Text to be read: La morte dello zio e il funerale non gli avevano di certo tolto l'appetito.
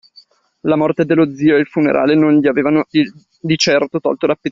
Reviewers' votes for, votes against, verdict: 1, 2, rejected